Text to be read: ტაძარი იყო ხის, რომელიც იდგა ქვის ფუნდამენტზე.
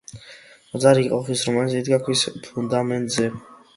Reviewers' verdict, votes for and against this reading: accepted, 2, 0